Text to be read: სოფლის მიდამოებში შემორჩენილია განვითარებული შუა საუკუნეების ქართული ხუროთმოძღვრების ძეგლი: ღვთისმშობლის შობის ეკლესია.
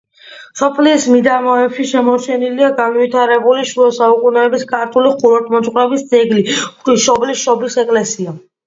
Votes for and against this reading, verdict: 2, 0, accepted